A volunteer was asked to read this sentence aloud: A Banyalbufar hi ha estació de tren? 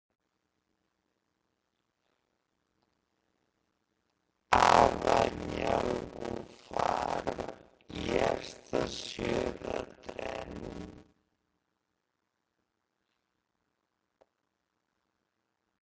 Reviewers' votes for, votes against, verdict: 1, 3, rejected